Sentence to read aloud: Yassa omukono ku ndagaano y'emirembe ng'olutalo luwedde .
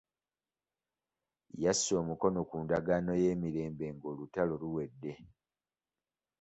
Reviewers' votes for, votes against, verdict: 2, 0, accepted